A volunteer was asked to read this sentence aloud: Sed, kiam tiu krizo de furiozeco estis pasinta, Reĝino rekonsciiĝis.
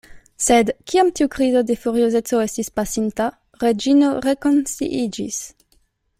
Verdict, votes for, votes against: accepted, 2, 1